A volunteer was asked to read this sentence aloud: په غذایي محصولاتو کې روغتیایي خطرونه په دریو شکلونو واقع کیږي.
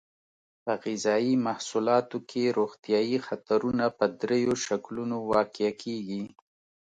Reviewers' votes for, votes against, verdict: 1, 2, rejected